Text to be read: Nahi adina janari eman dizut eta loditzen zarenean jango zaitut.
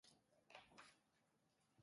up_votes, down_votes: 0, 2